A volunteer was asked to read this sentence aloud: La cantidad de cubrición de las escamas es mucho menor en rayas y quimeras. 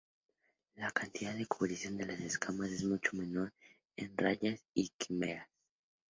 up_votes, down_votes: 4, 0